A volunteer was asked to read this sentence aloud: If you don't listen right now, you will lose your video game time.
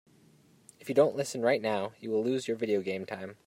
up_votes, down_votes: 2, 0